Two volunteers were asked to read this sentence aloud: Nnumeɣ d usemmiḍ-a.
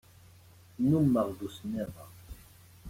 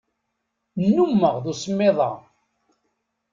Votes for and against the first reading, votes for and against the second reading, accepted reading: 1, 2, 2, 0, second